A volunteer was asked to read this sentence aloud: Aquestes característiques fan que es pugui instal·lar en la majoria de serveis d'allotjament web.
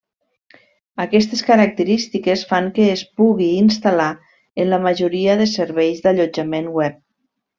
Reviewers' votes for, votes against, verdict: 3, 0, accepted